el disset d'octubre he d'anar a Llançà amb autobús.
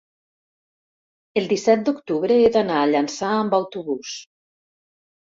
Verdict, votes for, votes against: accepted, 2, 0